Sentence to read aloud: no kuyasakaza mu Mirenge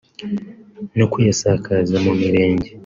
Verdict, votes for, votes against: accepted, 2, 0